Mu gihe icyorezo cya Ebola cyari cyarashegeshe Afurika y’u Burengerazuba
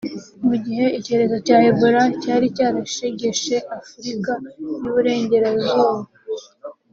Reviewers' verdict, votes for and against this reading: accepted, 3, 0